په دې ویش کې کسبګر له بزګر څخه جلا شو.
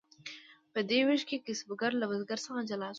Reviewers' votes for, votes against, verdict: 2, 0, accepted